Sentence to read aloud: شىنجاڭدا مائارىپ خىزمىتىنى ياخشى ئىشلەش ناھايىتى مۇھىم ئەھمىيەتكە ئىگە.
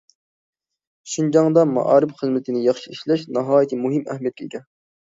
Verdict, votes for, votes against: accepted, 2, 0